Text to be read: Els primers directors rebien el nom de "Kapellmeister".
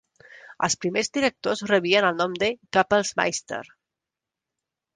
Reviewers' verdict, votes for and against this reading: rejected, 1, 2